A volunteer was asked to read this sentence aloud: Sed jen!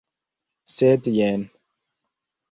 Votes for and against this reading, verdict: 1, 2, rejected